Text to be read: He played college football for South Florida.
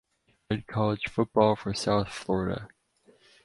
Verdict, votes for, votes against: rejected, 0, 4